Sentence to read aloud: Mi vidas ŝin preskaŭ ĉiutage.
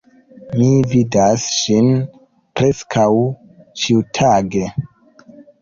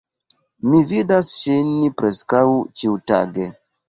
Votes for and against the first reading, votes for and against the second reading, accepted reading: 2, 0, 0, 2, first